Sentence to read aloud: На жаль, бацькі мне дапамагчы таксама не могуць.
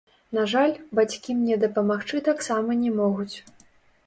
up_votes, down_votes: 0, 2